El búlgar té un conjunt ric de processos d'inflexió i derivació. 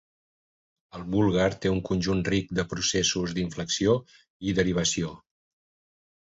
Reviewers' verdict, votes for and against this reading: accepted, 2, 0